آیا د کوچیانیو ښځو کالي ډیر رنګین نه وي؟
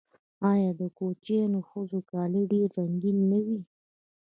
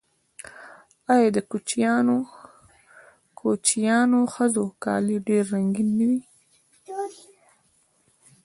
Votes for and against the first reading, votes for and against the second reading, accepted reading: 1, 2, 2, 0, second